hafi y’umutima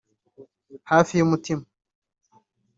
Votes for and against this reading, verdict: 1, 2, rejected